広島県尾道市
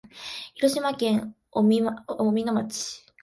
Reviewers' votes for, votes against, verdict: 0, 2, rejected